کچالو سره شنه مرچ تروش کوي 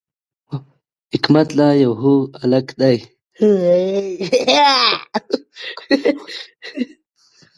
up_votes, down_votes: 0, 2